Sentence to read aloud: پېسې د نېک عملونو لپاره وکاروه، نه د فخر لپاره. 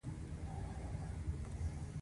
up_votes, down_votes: 1, 2